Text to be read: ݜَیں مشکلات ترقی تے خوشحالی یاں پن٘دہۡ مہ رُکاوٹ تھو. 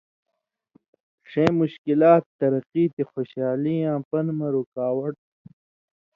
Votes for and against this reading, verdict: 2, 0, accepted